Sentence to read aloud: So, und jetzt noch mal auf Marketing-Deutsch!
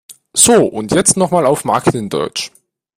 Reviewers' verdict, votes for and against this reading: accepted, 2, 0